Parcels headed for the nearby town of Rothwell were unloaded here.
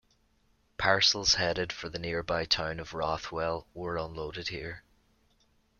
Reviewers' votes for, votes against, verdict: 2, 0, accepted